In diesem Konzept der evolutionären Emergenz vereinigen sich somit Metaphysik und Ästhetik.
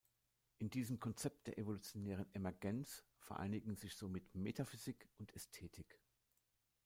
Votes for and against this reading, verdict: 2, 0, accepted